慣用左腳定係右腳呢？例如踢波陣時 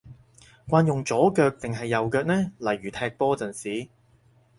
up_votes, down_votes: 4, 0